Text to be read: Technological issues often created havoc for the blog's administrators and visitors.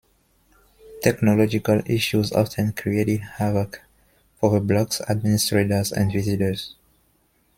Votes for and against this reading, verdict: 2, 0, accepted